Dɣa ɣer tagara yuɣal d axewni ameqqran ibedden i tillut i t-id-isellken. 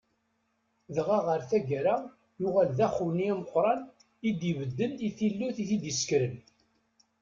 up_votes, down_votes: 1, 2